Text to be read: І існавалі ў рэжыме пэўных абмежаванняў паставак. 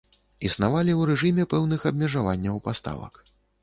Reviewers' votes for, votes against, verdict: 1, 2, rejected